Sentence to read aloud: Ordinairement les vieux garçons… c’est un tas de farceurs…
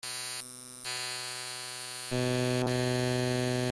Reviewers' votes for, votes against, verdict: 0, 2, rejected